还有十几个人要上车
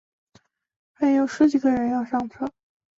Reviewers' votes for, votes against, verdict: 2, 1, accepted